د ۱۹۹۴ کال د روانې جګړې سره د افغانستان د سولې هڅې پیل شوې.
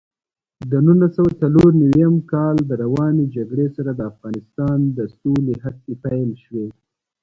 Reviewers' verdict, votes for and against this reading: rejected, 0, 2